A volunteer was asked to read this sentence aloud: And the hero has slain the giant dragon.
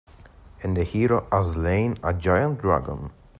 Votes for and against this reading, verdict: 0, 2, rejected